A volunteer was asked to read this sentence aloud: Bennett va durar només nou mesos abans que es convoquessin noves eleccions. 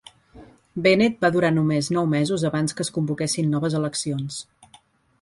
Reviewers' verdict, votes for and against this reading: accepted, 4, 0